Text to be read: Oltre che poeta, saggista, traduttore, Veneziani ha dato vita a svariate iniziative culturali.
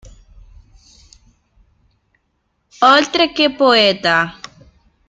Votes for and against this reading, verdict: 0, 2, rejected